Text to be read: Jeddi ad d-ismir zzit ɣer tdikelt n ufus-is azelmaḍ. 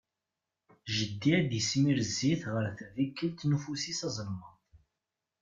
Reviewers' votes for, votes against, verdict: 2, 0, accepted